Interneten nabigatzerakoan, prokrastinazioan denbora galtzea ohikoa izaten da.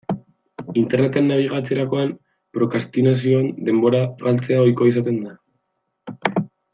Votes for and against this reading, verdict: 0, 2, rejected